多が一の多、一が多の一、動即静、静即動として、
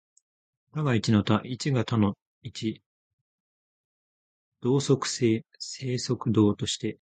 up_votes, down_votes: 2, 1